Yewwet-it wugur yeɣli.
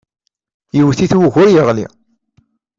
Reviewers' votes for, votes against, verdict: 2, 0, accepted